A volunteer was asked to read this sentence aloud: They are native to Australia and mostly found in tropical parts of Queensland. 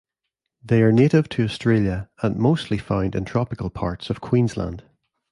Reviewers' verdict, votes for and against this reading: rejected, 1, 2